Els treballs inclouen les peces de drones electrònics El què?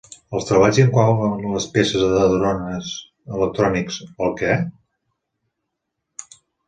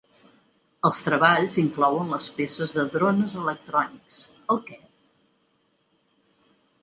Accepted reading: second